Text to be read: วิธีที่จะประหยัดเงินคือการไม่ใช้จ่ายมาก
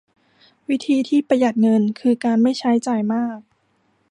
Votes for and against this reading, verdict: 1, 2, rejected